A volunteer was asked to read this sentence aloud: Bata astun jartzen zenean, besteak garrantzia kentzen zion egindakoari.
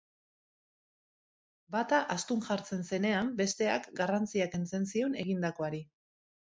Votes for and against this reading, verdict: 2, 0, accepted